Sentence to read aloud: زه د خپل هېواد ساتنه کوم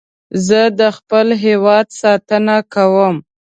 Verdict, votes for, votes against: accepted, 2, 0